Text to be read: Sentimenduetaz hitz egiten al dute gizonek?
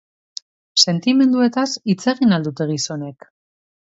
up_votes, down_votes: 0, 2